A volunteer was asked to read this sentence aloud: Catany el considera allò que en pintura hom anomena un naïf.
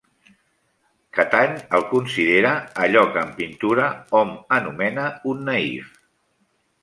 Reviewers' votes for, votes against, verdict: 2, 0, accepted